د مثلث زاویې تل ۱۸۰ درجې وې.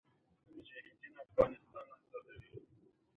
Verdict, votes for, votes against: rejected, 0, 2